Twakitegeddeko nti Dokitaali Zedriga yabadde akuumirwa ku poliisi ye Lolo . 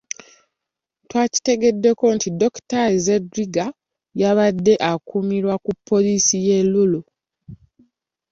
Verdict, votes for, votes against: rejected, 0, 2